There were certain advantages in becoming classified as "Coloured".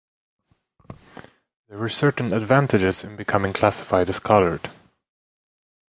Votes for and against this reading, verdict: 2, 1, accepted